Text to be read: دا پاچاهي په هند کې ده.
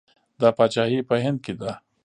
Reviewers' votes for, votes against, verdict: 2, 0, accepted